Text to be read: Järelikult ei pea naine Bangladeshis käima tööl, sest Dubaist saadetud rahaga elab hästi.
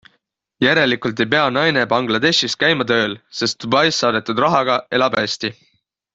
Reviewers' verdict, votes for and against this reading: accepted, 3, 0